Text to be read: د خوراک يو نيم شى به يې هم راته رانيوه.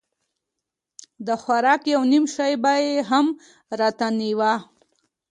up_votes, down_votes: 2, 1